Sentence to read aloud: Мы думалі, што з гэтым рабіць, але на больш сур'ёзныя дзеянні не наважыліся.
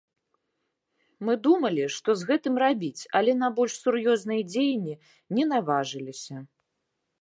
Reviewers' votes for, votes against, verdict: 2, 0, accepted